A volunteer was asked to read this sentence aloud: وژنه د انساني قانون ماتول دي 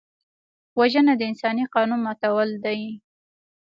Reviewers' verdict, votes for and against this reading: accepted, 2, 1